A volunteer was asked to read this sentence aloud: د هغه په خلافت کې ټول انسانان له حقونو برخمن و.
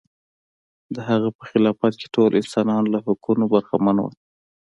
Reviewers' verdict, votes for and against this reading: rejected, 1, 2